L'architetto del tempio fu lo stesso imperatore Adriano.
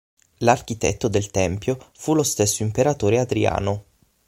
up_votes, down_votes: 6, 0